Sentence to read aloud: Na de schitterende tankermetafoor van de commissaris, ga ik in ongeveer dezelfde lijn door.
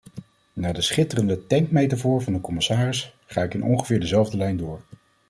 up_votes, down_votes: 1, 2